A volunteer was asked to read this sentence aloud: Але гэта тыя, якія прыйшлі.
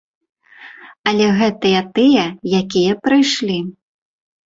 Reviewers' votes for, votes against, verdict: 0, 2, rejected